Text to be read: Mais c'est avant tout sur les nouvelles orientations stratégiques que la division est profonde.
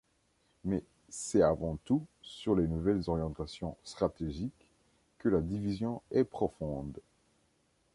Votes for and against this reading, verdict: 2, 0, accepted